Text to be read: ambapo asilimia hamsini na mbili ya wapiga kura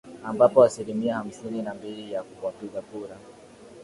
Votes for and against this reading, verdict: 7, 4, accepted